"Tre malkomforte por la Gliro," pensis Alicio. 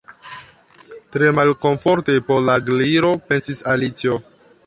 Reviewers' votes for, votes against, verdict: 0, 2, rejected